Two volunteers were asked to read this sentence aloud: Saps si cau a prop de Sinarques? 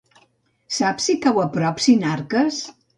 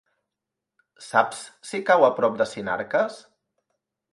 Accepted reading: second